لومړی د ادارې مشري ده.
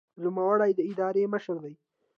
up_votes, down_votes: 1, 2